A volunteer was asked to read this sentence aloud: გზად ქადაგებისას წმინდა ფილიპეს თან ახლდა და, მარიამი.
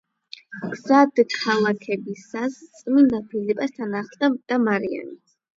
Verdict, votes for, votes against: rejected, 0, 8